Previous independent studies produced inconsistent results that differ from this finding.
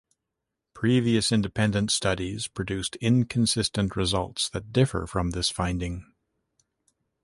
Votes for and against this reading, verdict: 2, 0, accepted